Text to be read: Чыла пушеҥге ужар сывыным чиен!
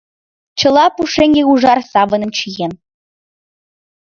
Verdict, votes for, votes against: rejected, 2, 3